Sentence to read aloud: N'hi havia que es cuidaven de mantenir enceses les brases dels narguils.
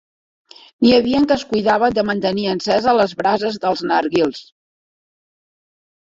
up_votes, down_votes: 0, 2